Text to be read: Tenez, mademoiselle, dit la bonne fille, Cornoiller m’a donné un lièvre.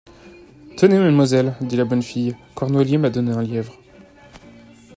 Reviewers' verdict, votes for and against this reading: accepted, 2, 0